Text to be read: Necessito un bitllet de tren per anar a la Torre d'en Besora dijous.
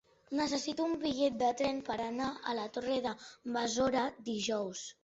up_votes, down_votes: 2, 3